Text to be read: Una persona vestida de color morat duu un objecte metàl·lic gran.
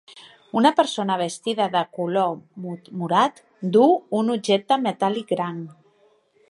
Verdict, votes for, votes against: rejected, 1, 2